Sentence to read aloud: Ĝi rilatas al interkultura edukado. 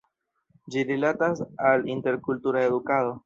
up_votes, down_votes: 2, 0